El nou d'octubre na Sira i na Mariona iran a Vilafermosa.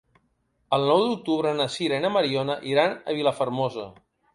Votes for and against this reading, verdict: 2, 0, accepted